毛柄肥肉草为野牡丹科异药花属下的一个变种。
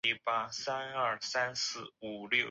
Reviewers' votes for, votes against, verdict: 3, 4, rejected